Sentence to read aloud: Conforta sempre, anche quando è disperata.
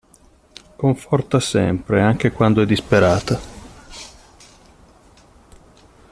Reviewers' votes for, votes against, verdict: 2, 0, accepted